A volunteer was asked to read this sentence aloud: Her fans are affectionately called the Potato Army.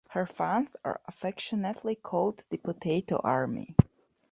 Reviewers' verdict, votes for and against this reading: accepted, 2, 0